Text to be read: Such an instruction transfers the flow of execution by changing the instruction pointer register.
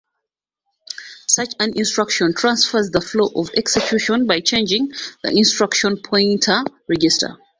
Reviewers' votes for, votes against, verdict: 2, 0, accepted